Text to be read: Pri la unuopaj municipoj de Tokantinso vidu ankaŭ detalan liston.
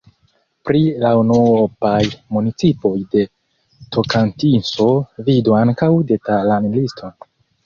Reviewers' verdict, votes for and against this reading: accepted, 2, 1